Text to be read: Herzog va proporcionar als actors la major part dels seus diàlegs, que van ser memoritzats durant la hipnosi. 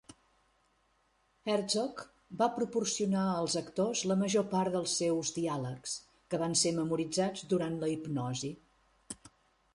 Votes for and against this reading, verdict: 2, 0, accepted